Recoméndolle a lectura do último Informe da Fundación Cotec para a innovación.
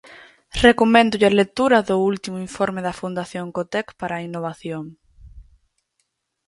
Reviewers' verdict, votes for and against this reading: accepted, 4, 0